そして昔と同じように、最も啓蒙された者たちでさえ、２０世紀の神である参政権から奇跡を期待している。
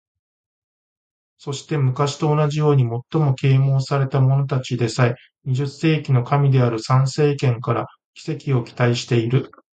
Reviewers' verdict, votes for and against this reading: rejected, 0, 2